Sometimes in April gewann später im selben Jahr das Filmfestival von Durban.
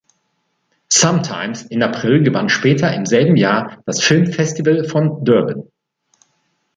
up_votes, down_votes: 1, 2